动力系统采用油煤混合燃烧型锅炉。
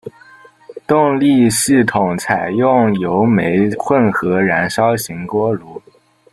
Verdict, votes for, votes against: rejected, 0, 2